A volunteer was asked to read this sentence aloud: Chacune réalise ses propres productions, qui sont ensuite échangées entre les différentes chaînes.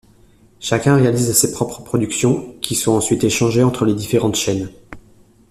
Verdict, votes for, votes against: rejected, 0, 2